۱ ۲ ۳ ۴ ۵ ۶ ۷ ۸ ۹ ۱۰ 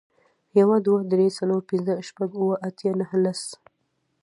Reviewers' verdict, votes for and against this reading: rejected, 0, 2